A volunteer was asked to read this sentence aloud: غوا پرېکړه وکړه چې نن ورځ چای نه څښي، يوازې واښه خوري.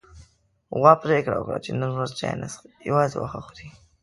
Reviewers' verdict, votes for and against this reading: accepted, 2, 0